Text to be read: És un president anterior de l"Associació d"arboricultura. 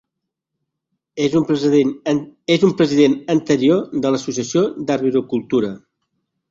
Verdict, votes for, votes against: rejected, 0, 2